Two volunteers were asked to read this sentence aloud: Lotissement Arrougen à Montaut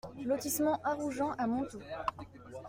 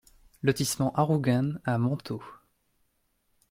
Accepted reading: first